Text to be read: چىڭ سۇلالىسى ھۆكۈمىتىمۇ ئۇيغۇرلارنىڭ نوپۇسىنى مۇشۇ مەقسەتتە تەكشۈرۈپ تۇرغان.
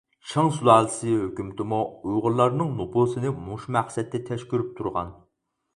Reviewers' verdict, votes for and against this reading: rejected, 2, 4